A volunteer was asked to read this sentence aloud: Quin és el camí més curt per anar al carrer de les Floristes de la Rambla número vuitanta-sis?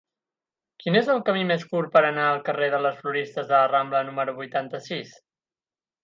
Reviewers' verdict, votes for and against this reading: accepted, 12, 0